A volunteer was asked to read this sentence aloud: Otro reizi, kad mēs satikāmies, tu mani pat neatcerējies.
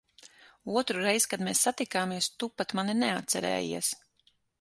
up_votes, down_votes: 0, 6